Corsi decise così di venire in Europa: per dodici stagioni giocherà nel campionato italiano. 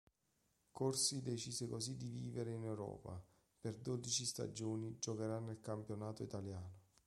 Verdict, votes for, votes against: rejected, 0, 2